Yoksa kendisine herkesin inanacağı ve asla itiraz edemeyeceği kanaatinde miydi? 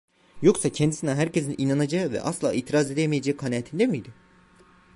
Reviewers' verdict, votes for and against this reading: accepted, 2, 0